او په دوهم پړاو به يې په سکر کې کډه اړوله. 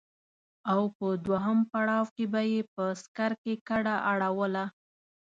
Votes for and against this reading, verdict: 1, 2, rejected